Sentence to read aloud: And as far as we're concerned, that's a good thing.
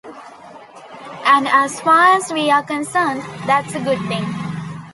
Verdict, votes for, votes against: accepted, 2, 1